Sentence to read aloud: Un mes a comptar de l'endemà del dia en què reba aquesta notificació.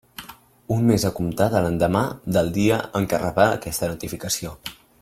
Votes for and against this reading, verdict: 2, 1, accepted